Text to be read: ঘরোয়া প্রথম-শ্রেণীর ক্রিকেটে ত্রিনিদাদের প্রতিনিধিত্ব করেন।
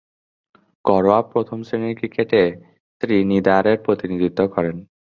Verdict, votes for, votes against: accepted, 2, 0